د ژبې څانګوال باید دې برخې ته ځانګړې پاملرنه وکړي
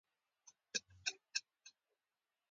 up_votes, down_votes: 0, 2